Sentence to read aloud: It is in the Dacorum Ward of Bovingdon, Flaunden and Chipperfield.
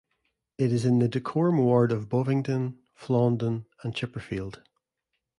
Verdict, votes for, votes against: accepted, 2, 0